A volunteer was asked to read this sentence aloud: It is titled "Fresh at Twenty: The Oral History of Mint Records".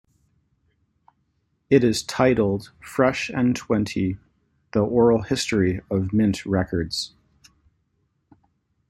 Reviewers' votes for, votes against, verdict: 1, 2, rejected